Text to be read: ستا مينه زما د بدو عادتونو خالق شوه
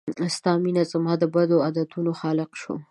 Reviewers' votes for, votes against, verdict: 2, 0, accepted